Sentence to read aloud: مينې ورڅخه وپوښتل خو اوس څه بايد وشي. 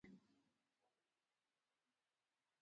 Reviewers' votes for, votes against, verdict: 1, 2, rejected